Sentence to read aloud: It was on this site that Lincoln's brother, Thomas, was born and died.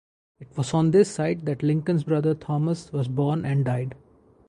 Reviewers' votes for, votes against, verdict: 2, 2, rejected